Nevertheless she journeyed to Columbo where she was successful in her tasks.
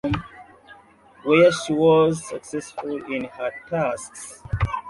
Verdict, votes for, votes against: rejected, 0, 2